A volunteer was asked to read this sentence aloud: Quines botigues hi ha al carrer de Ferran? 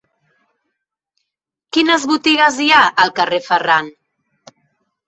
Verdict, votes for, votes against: rejected, 1, 2